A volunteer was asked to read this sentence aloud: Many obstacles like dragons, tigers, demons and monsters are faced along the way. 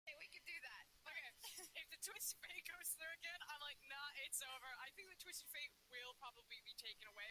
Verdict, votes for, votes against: rejected, 0, 2